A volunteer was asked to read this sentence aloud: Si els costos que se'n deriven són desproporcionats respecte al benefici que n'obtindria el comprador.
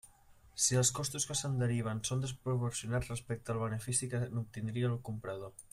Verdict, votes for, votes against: rejected, 0, 2